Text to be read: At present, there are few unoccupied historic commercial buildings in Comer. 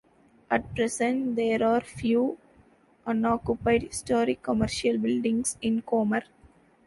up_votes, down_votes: 0, 2